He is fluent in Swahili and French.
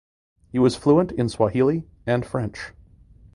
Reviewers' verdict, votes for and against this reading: rejected, 1, 2